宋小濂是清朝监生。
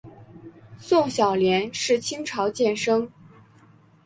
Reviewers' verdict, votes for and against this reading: accepted, 6, 0